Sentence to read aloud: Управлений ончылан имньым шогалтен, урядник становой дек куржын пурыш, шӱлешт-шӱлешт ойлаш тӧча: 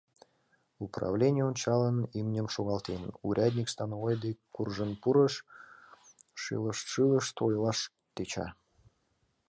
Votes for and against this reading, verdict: 0, 2, rejected